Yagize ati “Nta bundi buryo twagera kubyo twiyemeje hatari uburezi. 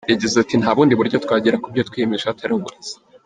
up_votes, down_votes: 0, 2